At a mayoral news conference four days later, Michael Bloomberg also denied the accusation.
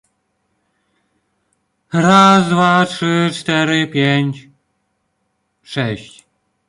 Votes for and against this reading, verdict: 0, 2, rejected